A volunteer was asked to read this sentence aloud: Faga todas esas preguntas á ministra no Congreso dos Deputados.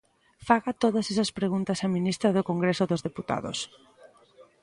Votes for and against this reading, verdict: 1, 2, rejected